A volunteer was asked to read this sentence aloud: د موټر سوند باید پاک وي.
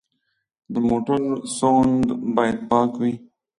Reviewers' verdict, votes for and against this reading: accepted, 2, 0